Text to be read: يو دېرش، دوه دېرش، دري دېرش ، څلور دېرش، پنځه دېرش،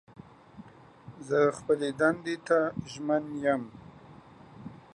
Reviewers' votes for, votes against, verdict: 0, 2, rejected